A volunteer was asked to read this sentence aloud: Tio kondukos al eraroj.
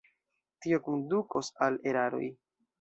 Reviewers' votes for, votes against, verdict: 2, 0, accepted